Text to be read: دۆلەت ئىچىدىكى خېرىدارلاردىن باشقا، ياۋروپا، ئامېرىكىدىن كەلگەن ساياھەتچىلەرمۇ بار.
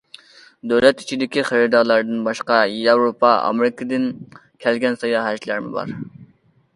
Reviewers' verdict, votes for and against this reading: accepted, 2, 0